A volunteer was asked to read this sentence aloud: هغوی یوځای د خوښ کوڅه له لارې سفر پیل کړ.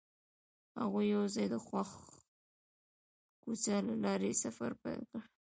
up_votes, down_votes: 2, 0